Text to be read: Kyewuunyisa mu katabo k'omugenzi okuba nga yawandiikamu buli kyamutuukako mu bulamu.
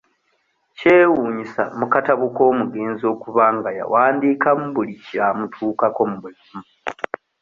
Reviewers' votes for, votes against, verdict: 2, 0, accepted